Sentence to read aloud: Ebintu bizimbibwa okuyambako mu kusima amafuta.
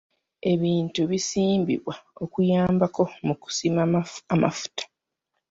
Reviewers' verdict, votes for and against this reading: rejected, 1, 2